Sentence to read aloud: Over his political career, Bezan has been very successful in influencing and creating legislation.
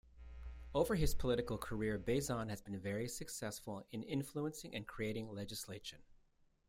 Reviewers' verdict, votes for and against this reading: accepted, 2, 0